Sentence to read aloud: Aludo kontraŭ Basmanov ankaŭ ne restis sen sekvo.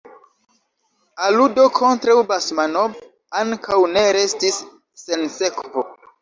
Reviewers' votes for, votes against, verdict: 2, 1, accepted